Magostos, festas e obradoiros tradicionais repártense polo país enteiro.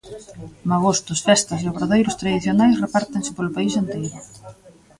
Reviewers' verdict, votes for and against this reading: rejected, 1, 2